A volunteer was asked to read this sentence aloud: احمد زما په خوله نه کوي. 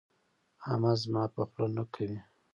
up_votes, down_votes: 2, 1